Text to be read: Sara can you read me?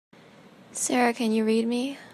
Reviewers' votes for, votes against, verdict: 2, 0, accepted